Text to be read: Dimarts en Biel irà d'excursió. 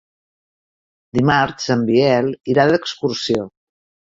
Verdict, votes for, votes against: rejected, 1, 2